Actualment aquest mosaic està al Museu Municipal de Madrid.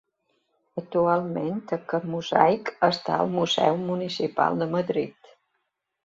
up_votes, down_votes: 3, 0